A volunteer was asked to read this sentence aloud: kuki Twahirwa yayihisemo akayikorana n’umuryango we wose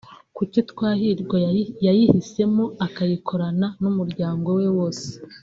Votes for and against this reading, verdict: 1, 2, rejected